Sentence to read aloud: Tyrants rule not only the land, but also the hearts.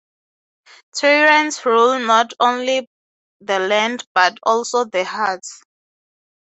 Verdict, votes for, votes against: accepted, 6, 0